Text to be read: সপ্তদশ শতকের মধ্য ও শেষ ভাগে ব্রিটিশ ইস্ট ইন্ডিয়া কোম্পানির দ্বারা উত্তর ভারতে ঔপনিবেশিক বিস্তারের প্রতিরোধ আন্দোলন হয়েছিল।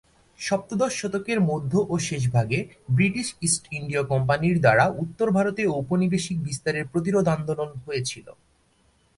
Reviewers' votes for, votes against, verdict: 4, 0, accepted